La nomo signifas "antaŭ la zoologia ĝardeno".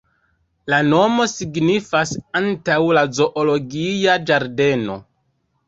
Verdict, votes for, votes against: rejected, 0, 2